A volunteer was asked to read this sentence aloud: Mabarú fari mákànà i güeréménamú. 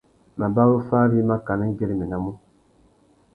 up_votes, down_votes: 2, 0